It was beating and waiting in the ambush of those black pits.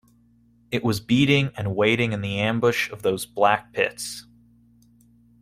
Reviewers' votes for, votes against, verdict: 2, 0, accepted